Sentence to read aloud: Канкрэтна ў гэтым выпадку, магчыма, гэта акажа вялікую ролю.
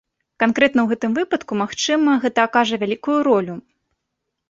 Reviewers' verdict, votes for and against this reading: accepted, 2, 1